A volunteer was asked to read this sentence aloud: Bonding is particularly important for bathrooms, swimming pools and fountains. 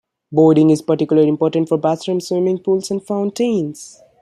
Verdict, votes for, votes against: rejected, 0, 2